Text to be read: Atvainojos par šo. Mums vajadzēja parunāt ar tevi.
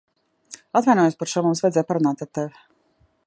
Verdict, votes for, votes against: accepted, 2, 1